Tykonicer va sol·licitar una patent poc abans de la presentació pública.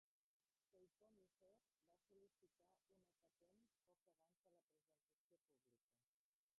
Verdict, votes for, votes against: rejected, 0, 2